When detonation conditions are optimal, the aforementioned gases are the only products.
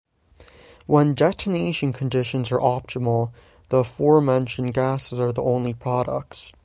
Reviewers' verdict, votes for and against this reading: rejected, 0, 6